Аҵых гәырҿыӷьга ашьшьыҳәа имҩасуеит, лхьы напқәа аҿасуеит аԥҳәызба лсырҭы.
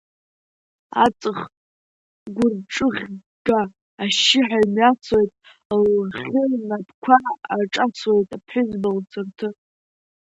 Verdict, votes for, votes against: rejected, 0, 2